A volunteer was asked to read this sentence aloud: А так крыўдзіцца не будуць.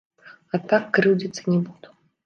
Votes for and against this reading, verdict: 0, 2, rejected